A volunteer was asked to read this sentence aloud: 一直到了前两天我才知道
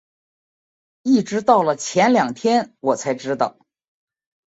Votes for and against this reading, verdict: 3, 0, accepted